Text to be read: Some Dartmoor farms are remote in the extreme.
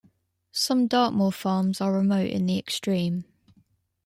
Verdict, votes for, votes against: accepted, 2, 1